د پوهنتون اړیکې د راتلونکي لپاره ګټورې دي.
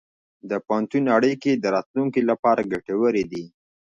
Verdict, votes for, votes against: accepted, 3, 0